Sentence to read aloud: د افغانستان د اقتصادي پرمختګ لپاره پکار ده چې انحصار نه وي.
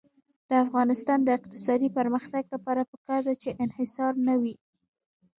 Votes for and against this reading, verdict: 0, 2, rejected